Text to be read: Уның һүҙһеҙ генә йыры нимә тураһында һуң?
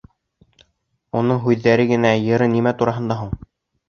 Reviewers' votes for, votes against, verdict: 1, 2, rejected